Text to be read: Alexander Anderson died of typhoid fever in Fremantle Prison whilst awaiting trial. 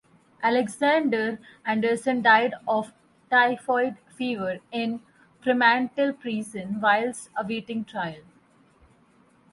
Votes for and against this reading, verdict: 4, 0, accepted